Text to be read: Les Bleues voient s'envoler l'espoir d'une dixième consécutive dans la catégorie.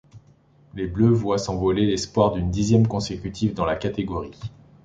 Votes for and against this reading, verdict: 2, 0, accepted